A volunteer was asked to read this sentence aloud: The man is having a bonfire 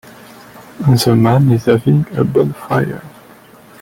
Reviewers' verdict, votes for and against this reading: rejected, 1, 2